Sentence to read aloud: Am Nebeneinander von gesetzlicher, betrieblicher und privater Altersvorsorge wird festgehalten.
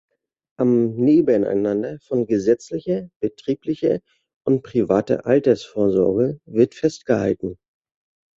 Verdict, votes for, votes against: accepted, 2, 0